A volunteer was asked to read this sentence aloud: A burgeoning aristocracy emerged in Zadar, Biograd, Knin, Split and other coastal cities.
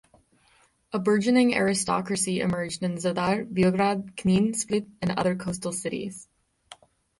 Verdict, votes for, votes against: accepted, 6, 0